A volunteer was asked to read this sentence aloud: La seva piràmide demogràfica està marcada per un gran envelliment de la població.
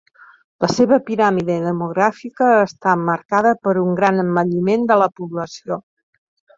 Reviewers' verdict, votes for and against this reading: accepted, 2, 1